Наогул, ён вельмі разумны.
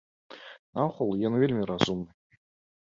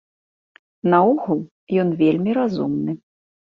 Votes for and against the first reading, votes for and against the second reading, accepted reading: 1, 2, 2, 0, second